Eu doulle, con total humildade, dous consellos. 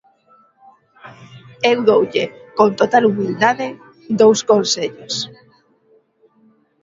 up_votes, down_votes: 2, 0